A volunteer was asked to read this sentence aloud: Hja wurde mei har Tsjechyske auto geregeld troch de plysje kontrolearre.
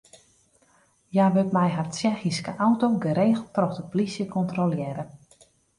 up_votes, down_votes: 0, 2